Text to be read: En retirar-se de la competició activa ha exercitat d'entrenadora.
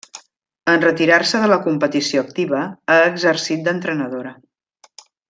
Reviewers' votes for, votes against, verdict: 1, 2, rejected